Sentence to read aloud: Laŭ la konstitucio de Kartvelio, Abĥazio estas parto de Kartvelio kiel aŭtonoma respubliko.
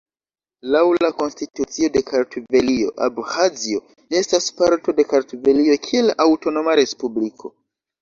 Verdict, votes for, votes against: rejected, 1, 2